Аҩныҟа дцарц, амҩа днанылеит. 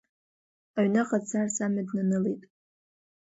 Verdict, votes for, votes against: rejected, 1, 2